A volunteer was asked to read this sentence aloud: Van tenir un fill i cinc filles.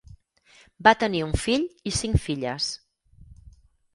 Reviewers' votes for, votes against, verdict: 0, 4, rejected